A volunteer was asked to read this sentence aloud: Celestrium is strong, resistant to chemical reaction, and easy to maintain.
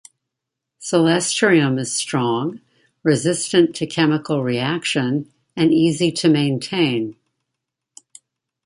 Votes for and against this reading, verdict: 2, 0, accepted